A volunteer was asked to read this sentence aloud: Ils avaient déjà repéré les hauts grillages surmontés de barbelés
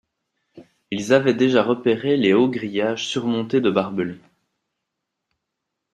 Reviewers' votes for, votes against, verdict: 2, 0, accepted